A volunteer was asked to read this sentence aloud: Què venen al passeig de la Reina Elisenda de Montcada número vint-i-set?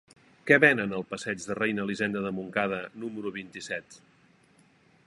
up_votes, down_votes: 1, 3